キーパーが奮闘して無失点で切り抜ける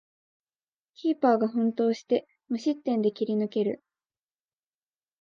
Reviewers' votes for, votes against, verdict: 2, 0, accepted